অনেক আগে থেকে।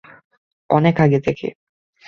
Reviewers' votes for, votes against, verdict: 2, 0, accepted